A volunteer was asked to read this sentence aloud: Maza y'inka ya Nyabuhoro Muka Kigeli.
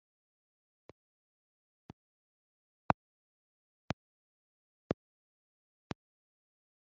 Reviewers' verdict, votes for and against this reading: rejected, 1, 2